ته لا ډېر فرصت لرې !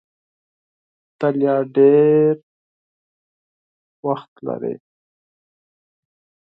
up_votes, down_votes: 0, 4